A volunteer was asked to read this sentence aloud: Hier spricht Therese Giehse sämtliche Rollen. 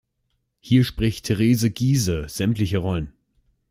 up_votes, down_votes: 2, 0